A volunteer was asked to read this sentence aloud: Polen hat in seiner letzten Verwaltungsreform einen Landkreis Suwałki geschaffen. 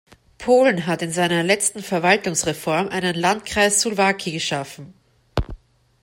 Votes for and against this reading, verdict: 1, 2, rejected